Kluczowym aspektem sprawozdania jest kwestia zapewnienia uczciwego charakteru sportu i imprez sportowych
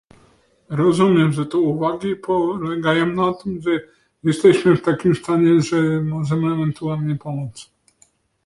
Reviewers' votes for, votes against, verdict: 0, 2, rejected